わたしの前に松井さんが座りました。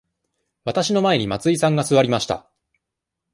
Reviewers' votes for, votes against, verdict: 2, 0, accepted